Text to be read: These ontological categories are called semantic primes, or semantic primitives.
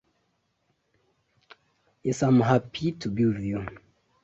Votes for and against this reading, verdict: 0, 2, rejected